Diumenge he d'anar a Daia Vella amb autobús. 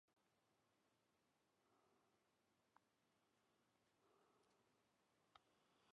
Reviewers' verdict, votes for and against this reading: rejected, 0, 4